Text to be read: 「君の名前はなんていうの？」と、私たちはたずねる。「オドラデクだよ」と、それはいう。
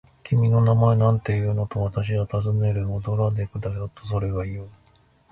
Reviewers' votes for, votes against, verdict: 1, 2, rejected